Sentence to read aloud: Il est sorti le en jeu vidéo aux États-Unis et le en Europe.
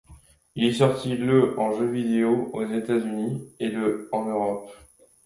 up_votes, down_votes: 2, 0